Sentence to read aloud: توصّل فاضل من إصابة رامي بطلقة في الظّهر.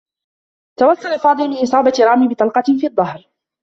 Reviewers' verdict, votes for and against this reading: accepted, 2, 1